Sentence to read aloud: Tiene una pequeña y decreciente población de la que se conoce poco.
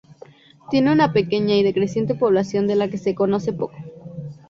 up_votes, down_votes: 2, 0